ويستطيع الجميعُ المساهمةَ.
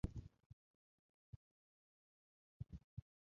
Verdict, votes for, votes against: rejected, 1, 2